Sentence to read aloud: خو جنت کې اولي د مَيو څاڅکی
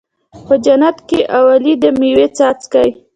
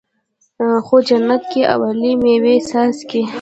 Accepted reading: first